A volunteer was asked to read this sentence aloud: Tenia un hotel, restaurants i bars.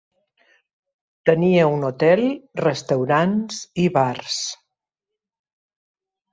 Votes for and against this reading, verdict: 2, 0, accepted